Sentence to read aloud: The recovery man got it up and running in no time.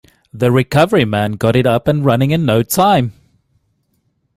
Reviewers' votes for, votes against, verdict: 2, 0, accepted